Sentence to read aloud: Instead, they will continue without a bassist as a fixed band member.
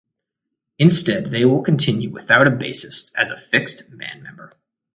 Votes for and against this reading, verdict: 2, 0, accepted